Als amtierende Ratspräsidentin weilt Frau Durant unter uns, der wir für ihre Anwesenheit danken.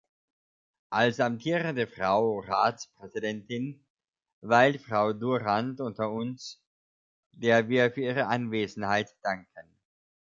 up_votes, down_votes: 1, 2